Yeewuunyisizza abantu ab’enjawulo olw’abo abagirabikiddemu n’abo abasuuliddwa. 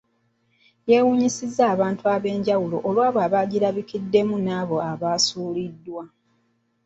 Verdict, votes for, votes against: accepted, 2, 1